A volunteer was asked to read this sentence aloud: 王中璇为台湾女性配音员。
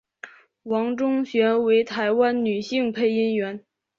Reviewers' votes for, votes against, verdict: 2, 1, accepted